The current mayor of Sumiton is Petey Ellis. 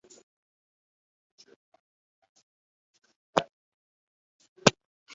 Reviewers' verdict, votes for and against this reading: rejected, 0, 2